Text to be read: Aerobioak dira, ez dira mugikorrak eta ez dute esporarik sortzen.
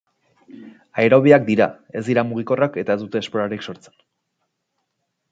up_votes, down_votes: 4, 0